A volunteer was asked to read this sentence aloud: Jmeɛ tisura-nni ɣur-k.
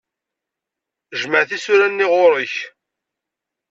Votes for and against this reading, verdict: 2, 0, accepted